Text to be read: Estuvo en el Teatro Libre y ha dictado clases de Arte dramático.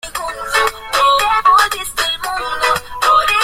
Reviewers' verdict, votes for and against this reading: rejected, 0, 2